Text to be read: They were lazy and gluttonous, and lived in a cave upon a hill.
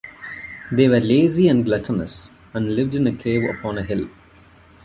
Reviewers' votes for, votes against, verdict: 0, 2, rejected